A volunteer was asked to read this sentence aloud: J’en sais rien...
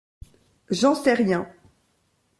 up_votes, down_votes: 2, 0